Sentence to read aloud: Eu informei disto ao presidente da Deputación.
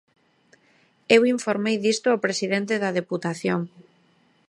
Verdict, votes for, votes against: accepted, 2, 0